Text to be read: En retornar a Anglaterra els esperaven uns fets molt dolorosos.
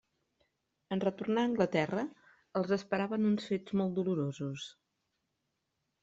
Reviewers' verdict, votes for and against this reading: accepted, 3, 1